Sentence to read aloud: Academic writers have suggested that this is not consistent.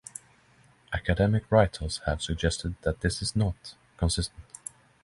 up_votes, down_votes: 6, 0